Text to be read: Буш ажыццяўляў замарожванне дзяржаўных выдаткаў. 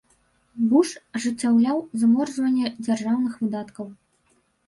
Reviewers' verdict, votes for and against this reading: rejected, 1, 2